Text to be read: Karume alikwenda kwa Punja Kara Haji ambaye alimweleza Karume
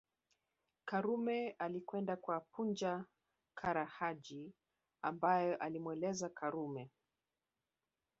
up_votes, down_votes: 1, 2